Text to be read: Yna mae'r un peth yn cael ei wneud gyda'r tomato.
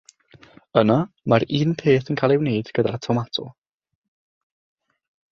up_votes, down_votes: 6, 3